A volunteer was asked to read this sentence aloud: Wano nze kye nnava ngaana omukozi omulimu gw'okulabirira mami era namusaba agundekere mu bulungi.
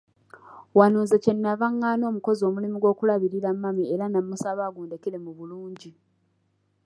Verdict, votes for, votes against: accepted, 2, 0